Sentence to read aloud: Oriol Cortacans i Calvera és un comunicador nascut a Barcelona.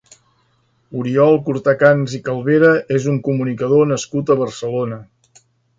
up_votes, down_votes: 2, 0